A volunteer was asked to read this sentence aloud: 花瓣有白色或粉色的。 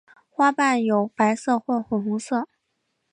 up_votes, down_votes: 3, 4